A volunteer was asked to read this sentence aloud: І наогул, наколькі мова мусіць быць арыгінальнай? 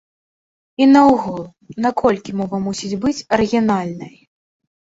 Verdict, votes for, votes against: rejected, 1, 2